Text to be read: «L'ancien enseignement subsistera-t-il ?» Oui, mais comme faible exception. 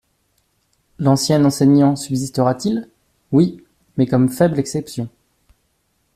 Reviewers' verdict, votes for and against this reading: rejected, 1, 2